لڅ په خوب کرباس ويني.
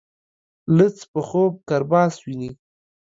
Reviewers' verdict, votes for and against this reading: accepted, 2, 0